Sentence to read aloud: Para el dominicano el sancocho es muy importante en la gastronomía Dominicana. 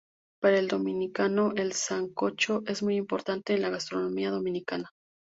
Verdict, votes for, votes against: accepted, 2, 0